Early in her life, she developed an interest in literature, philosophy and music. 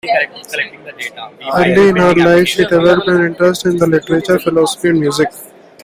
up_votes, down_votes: 0, 3